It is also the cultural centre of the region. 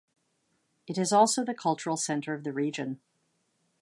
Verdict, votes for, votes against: accepted, 2, 0